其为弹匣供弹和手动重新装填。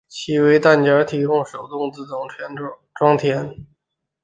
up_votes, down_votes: 0, 2